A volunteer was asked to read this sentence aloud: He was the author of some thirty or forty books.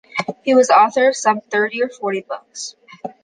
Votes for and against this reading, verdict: 2, 0, accepted